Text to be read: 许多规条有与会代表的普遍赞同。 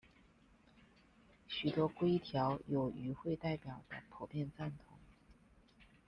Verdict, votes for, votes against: rejected, 1, 2